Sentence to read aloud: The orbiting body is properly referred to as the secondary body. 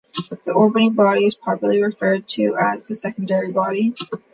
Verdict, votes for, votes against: accepted, 2, 0